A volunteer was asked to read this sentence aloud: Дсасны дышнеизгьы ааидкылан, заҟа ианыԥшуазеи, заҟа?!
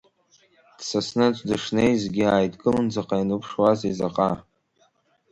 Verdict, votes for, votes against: accepted, 2, 1